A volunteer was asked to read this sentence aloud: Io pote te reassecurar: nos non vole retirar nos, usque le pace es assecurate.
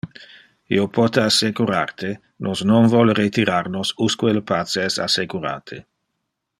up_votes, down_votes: 1, 2